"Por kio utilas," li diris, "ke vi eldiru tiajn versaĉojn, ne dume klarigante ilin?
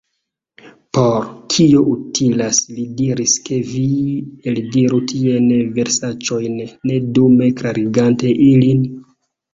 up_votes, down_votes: 1, 2